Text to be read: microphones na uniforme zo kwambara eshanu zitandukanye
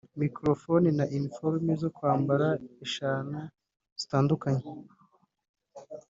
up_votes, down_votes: 2, 0